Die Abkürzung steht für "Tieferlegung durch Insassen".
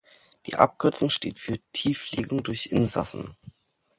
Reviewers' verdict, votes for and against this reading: rejected, 0, 2